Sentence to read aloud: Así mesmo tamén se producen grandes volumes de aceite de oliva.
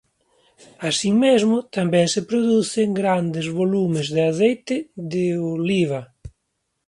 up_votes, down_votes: 2, 1